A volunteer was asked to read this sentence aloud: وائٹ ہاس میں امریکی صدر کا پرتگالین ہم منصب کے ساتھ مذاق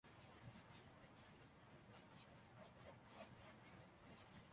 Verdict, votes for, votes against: rejected, 0, 2